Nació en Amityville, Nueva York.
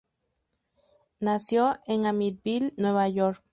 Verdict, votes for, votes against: rejected, 0, 2